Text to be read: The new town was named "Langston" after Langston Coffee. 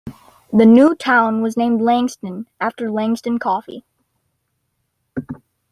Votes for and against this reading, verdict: 2, 0, accepted